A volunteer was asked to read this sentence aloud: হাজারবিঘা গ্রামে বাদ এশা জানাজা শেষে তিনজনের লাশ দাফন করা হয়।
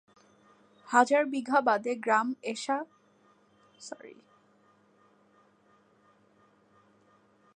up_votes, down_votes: 0, 4